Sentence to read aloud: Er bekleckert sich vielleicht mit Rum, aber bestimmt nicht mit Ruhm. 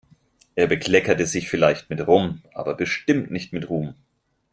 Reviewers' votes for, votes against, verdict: 0, 4, rejected